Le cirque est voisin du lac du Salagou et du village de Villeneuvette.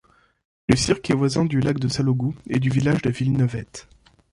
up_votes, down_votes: 1, 2